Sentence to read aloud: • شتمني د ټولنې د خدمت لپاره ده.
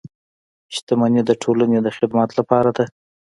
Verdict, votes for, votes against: accepted, 2, 0